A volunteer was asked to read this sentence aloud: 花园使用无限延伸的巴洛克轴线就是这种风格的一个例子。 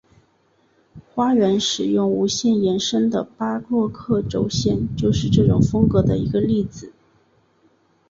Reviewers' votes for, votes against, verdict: 2, 0, accepted